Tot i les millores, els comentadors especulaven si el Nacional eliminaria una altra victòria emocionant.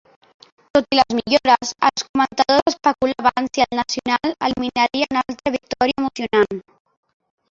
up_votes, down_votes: 0, 2